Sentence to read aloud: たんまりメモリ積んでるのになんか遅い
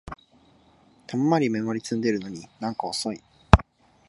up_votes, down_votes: 2, 0